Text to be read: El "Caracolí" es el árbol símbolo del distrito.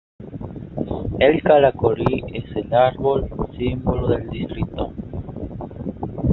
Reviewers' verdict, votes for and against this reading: accepted, 2, 0